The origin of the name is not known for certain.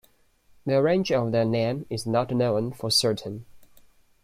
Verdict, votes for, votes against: rejected, 1, 2